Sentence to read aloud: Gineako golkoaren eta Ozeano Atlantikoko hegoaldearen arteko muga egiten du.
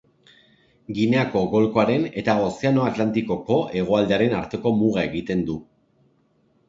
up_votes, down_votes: 3, 0